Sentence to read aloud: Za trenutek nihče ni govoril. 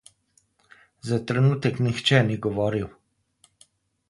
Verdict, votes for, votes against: rejected, 0, 2